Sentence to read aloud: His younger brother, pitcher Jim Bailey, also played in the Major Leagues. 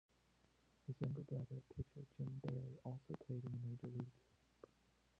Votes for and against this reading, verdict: 0, 2, rejected